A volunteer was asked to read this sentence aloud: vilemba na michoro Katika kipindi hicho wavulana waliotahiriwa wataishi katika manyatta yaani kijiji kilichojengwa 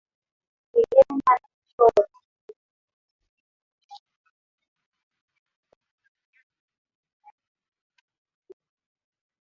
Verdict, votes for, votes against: rejected, 3, 11